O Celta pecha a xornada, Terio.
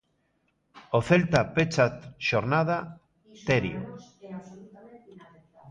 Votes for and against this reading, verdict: 2, 1, accepted